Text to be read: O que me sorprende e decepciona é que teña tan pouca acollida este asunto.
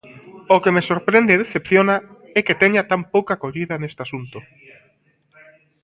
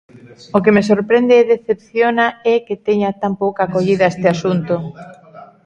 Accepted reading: second